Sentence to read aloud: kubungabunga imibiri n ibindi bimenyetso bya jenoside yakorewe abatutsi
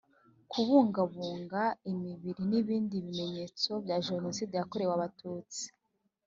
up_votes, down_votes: 2, 0